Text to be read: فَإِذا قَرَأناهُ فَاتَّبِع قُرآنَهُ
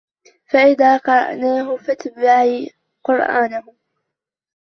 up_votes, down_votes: 0, 2